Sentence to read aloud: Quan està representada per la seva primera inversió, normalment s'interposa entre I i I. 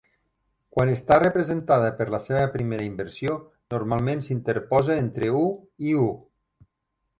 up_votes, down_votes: 2, 0